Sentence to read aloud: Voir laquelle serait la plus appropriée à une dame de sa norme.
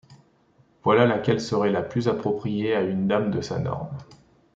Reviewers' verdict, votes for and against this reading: rejected, 0, 2